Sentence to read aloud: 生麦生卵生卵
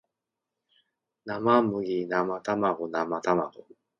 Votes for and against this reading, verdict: 2, 0, accepted